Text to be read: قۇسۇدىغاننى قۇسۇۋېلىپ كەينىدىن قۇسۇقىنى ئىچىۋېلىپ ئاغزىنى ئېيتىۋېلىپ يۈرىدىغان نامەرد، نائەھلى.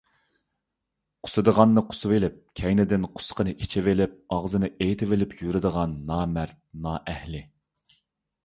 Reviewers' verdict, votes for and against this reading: accepted, 3, 0